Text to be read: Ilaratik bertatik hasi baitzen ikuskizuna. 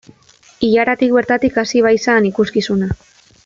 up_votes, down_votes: 0, 2